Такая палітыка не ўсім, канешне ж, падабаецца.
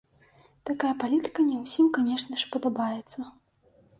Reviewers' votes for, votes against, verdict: 2, 0, accepted